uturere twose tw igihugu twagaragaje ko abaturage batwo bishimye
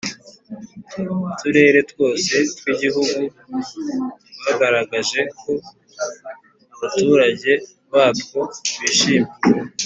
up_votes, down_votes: 2, 0